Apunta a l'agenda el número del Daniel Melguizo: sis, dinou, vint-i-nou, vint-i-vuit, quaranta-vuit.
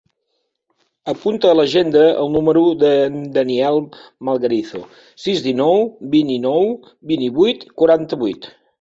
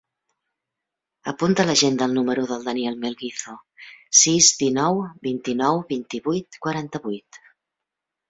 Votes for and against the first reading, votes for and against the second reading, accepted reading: 2, 3, 3, 0, second